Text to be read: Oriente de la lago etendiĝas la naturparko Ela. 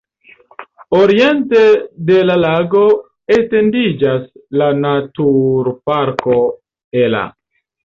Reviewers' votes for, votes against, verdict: 3, 0, accepted